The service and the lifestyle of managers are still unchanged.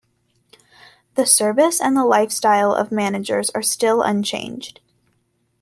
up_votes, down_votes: 2, 0